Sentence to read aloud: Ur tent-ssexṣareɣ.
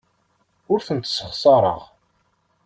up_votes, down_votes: 2, 0